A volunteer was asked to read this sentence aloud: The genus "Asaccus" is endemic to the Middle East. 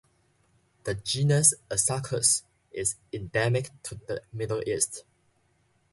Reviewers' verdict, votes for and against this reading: accepted, 2, 0